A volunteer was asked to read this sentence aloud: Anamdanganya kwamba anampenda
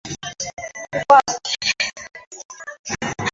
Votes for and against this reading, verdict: 0, 2, rejected